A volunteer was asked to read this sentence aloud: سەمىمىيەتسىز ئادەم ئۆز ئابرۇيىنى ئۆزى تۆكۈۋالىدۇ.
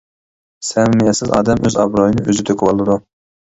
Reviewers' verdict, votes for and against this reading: rejected, 0, 2